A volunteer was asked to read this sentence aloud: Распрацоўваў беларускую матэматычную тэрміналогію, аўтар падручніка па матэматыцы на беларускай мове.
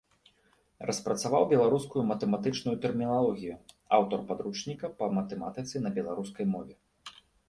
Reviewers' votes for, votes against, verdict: 1, 2, rejected